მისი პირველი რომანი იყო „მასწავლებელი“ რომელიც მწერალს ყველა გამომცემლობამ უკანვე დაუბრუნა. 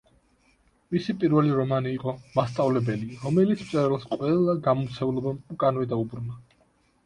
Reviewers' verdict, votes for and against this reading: accepted, 2, 0